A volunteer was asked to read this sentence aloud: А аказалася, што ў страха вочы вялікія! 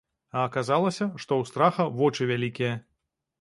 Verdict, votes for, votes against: accepted, 2, 0